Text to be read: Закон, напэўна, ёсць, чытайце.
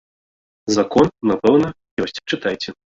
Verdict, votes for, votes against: rejected, 0, 2